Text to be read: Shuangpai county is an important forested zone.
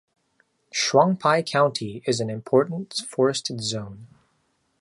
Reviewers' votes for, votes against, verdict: 2, 0, accepted